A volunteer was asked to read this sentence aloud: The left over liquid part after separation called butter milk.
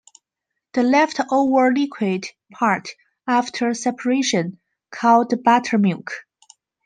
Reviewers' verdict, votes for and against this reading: rejected, 1, 2